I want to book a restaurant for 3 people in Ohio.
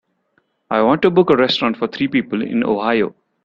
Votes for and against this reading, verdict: 0, 2, rejected